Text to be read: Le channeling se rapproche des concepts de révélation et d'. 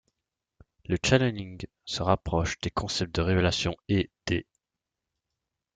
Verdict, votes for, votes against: accepted, 2, 1